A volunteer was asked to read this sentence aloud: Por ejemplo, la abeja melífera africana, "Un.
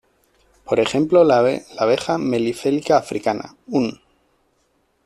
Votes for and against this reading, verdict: 0, 2, rejected